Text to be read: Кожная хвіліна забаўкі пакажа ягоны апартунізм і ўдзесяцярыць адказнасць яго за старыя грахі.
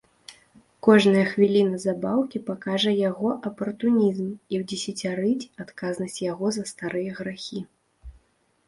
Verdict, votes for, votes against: accepted, 2, 0